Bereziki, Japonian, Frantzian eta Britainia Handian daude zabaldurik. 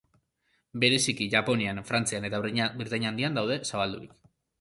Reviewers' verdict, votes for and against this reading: rejected, 0, 2